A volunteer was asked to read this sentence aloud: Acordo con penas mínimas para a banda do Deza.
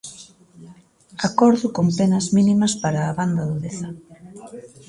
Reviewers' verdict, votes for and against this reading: rejected, 1, 2